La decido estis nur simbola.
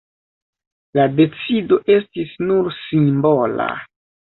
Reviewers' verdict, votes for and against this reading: accepted, 3, 0